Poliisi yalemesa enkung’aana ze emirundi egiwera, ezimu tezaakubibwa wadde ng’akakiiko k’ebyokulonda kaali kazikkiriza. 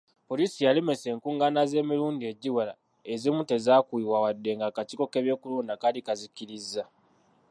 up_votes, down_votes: 0, 2